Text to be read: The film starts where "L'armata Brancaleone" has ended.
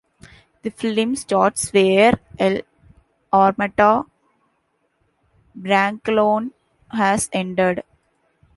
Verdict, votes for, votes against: rejected, 1, 2